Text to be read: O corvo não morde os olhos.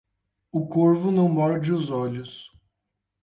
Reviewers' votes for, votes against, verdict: 8, 0, accepted